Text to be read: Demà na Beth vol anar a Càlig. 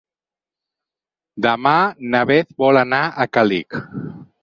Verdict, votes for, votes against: accepted, 4, 0